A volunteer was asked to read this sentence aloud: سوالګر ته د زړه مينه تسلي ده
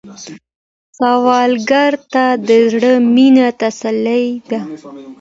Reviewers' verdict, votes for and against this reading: accepted, 2, 0